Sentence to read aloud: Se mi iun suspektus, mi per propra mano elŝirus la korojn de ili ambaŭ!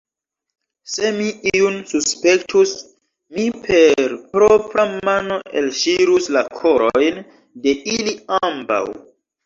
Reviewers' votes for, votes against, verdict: 0, 2, rejected